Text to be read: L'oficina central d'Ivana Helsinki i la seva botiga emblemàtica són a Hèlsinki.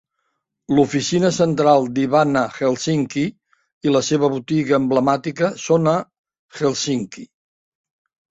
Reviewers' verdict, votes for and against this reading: rejected, 0, 2